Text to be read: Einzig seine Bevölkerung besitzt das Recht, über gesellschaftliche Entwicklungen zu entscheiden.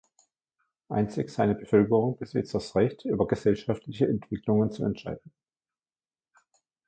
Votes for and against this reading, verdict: 1, 2, rejected